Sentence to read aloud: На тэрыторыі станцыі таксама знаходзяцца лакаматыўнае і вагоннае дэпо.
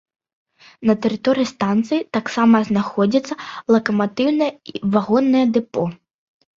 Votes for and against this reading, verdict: 2, 0, accepted